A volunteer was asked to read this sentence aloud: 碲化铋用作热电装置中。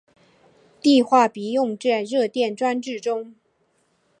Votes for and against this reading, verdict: 6, 2, accepted